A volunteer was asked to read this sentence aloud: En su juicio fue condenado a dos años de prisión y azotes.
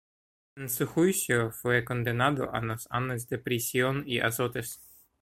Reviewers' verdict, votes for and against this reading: rejected, 0, 2